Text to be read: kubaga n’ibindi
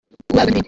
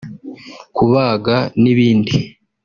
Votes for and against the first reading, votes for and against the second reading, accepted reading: 0, 2, 2, 0, second